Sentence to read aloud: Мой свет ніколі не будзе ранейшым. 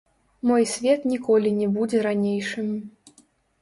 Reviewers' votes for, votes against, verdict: 0, 2, rejected